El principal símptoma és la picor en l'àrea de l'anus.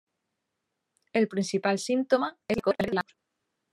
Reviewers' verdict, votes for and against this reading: rejected, 0, 2